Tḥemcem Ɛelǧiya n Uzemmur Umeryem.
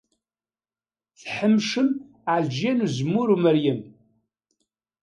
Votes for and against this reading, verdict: 2, 0, accepted